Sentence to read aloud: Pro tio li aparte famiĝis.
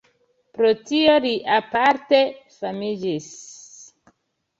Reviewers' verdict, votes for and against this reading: accepted, 2, 0